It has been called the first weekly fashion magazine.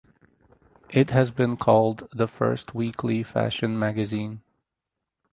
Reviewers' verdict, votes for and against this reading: rejected, 2, 2